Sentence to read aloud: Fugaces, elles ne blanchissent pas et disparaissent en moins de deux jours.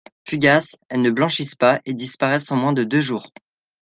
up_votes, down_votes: 2, 0